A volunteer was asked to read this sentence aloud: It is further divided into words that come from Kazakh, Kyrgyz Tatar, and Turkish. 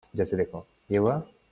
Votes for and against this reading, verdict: 0, 2, rejected